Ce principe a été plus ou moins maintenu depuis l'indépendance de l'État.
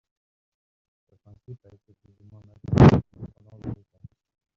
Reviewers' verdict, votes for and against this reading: rejected, 0, 2